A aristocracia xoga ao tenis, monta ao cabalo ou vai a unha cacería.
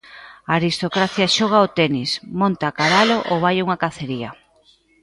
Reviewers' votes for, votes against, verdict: 2, 1, accepted